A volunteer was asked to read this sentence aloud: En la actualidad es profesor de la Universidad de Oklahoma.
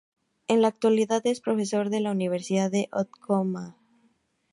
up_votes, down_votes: 0, 2